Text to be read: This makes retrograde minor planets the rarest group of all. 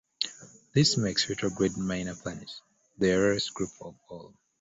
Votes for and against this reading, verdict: 2, 1, accepted